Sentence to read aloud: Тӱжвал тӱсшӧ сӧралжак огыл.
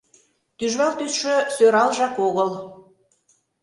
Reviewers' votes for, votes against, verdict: 2, 0, accepted